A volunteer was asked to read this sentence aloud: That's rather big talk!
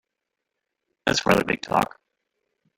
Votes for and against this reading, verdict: 1, 2, rejected